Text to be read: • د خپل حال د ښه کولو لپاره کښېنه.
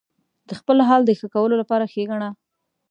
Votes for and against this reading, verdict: 1, 2, rejected